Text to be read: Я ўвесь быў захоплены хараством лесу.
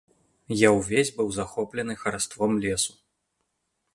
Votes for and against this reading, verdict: 2, 0, accepted